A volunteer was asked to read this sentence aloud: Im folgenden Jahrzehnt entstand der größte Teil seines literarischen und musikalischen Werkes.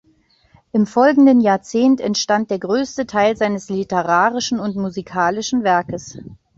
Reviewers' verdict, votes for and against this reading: accepted, 2, 1